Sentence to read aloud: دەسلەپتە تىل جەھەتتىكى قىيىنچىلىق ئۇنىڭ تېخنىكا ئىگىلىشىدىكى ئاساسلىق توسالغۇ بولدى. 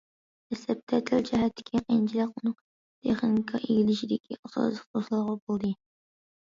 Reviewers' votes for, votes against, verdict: 1, 2, rejected